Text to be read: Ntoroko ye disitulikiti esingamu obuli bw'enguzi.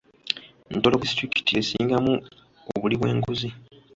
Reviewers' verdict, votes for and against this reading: rejected, 0, 2